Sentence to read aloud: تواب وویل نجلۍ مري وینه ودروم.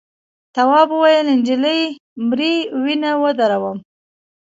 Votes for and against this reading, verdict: 0, 2, rejected